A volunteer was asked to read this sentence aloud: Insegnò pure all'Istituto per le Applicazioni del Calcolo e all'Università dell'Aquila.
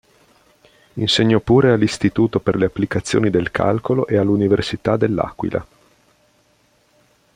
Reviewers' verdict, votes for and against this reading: accepted, 2, 0